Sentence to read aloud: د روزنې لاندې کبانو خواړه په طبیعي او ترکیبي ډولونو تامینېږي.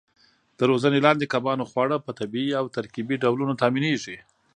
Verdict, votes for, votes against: rejected, 1, 2